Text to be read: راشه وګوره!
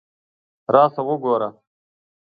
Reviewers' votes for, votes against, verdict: 2, 1, accepted